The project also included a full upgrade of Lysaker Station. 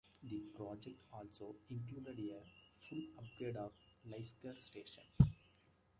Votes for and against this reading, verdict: 0, 2, rejected